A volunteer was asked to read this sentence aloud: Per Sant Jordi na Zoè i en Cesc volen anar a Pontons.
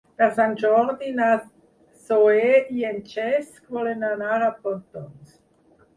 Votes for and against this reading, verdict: 2, 4, rejected